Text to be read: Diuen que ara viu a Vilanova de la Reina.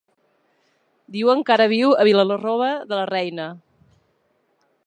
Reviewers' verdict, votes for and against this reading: rejected, 0, 2